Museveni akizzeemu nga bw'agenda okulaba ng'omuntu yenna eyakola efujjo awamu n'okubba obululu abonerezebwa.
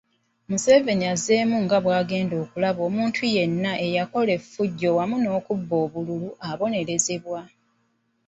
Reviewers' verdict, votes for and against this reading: rejected, 1, 3